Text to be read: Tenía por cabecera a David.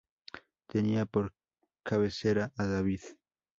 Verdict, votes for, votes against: accepted, 2, 0